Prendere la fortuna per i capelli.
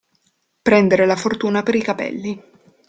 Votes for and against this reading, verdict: 2, 0, accepted